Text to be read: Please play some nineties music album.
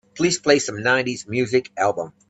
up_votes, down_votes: 2, 0